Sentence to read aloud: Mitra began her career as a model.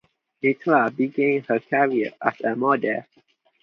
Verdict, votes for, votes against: accepted, 2, 0